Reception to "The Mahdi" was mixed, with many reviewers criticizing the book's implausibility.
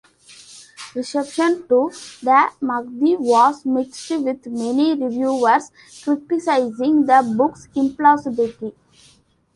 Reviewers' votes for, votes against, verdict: 2, 1, accepted